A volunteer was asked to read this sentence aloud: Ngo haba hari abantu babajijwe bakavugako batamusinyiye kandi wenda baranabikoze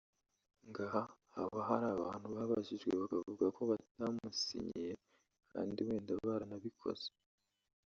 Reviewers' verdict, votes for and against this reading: rejected, 1, 2